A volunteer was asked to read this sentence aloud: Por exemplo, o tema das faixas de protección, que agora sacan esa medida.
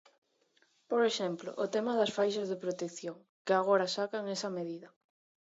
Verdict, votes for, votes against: accepted, 2, 1